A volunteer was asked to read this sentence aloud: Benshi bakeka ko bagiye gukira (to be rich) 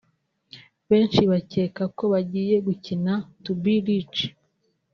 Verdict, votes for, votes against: rejected, 1, 2